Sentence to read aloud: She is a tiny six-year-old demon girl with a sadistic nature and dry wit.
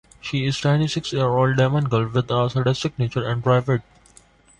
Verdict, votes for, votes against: rejected, 0, 2